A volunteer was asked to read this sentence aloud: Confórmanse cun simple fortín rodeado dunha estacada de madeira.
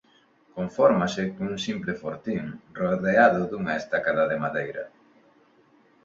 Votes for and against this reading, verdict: 2, 0, accepted